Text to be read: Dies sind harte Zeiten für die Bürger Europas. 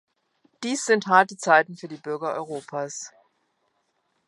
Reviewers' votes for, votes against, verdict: 3, 0, accepted